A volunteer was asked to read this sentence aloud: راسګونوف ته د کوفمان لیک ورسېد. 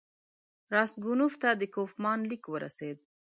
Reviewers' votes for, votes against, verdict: 2, 0, accepted